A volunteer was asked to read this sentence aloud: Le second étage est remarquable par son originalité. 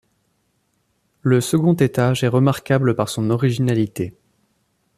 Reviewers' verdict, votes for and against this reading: accepted, 2, 0